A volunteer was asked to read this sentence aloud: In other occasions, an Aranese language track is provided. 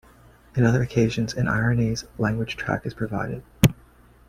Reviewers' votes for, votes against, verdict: 2, 0, accepted